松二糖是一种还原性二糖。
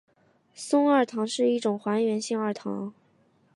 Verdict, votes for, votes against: accepted, 2, 0